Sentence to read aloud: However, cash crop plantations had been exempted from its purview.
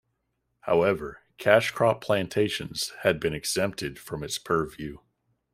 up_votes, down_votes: 2, 0